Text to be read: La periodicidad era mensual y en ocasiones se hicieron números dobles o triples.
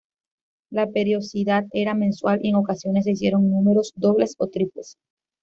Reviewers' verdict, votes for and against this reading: rejected, 1, 2